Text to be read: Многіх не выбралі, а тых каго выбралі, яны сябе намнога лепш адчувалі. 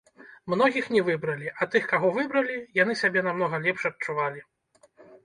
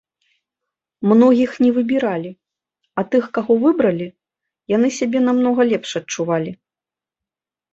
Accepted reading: first